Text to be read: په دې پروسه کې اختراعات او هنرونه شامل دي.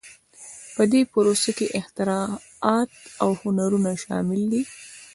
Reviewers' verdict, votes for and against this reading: accepted, 2, 0